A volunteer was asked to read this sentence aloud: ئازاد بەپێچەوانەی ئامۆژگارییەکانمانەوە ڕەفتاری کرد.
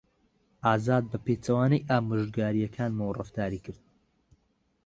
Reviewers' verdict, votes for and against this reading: rejected, 1, 2